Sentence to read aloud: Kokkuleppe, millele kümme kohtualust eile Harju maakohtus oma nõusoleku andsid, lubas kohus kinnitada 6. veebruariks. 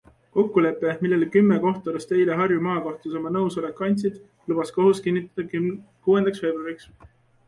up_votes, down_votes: 0, 2